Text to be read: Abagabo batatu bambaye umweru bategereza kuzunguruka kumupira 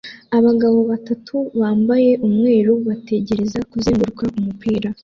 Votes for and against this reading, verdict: 2, 0, accepted